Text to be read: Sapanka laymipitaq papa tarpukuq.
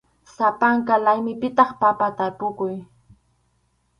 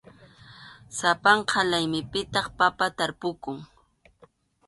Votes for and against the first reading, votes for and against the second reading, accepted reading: 0, 2, 2, 0, second